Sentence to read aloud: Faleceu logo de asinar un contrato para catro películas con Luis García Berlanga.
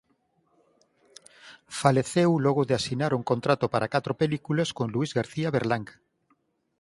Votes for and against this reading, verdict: 4, 0, accepted